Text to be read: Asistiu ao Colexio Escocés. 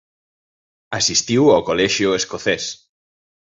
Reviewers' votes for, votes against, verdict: 2, 0, accepted